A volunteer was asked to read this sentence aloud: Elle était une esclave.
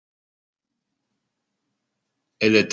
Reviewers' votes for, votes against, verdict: 0, 2, rejected